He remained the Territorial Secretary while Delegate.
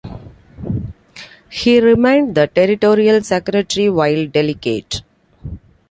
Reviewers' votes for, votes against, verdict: 2, 0, accepted